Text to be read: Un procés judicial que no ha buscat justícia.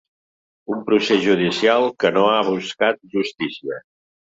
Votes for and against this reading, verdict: 4, 0, accepted